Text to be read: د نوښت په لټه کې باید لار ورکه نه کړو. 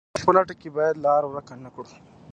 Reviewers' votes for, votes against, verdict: 2, 0, accepted